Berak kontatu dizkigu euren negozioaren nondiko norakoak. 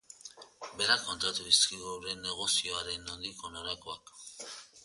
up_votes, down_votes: 1, 2